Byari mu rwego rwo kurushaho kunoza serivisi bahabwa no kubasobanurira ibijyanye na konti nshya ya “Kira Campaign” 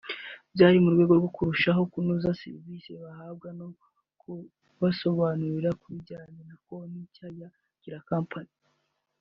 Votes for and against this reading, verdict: 1, 2, rejected